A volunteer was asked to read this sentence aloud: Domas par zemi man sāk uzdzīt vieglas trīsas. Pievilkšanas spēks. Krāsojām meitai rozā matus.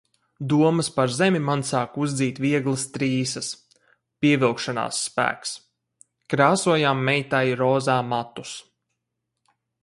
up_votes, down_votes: 2, 2